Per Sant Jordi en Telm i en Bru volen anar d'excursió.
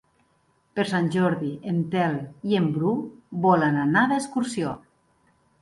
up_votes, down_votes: 3, 0